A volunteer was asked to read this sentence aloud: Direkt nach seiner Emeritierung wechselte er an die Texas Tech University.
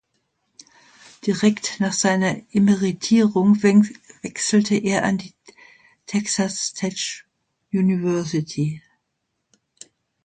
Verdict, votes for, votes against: rejected, 0, 2